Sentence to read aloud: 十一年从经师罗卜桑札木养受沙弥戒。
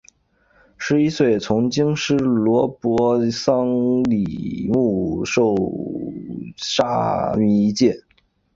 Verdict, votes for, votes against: rejected, 0, 3